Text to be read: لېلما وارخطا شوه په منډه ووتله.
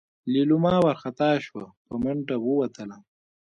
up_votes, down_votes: 1, 3